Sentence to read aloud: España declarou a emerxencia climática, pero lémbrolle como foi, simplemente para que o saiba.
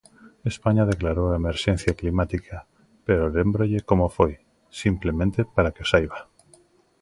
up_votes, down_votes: 2, 0